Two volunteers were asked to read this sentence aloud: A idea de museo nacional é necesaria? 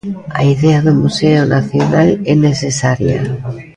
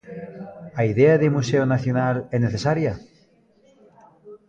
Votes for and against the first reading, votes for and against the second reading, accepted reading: 2, 0, 1, 2, first